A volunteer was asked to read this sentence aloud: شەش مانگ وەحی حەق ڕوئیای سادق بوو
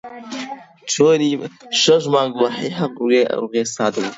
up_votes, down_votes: 0, 2